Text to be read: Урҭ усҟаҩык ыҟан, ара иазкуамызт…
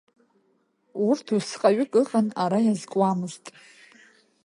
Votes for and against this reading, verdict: 1, 2, rejected